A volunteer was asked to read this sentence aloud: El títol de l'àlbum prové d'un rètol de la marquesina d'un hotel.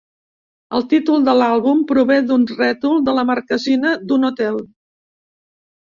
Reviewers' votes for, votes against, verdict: 2, 0, accepted